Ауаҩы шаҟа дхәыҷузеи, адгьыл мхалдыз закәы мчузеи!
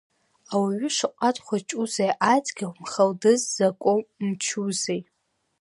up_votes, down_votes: 1, 2